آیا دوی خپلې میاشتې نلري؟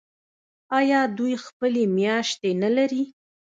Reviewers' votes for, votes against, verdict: 2, 0, accepted